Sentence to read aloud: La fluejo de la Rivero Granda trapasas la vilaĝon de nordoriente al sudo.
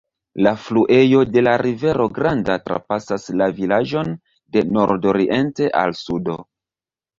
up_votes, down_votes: 2, 1